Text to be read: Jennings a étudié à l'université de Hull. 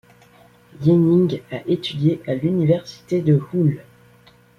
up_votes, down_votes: 0, 2